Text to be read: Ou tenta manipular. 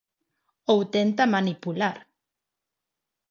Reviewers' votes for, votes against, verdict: 4, 0, accepted